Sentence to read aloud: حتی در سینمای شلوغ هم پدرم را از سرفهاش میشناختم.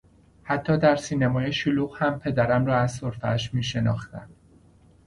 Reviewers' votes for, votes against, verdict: 2, 0, accepted